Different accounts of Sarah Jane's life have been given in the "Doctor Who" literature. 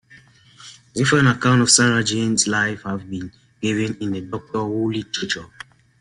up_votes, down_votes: 2, 1